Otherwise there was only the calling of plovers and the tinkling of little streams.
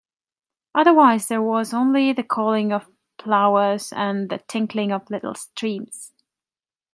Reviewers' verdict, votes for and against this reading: rejected, 1, 2